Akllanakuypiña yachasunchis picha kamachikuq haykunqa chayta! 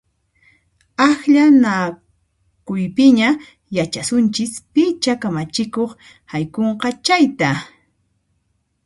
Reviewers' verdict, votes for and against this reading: accepted, 2, 0